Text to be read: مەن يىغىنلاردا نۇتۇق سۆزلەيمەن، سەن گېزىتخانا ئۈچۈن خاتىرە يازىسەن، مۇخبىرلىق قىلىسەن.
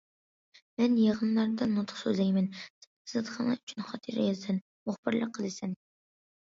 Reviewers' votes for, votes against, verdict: 0, 2, rejected